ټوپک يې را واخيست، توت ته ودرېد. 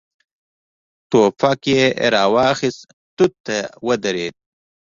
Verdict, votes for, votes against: accepted, 2, 0